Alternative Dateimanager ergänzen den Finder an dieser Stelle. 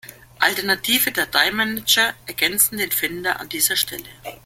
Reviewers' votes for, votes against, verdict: 0, 2, rejected